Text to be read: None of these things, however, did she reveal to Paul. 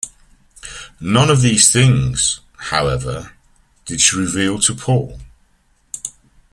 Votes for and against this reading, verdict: 0, 2, rejected